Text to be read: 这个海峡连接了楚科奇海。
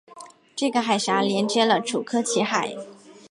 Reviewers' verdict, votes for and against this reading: accepted, 3, 1